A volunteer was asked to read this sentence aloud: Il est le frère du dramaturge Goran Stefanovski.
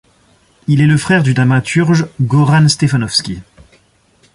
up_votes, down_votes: 2, 0